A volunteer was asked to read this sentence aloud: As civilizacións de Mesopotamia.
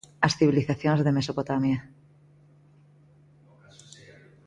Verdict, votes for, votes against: accepted, 2, 0